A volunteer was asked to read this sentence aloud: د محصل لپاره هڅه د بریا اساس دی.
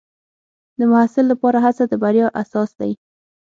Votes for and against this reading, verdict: 6, 0, accepted